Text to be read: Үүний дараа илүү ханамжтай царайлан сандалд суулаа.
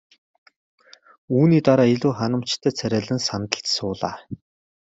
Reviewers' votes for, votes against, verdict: 2, 0, accepted